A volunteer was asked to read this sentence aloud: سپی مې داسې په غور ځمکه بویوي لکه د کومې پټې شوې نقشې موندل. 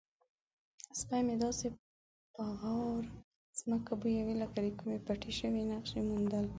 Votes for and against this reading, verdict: 0, 2, rejected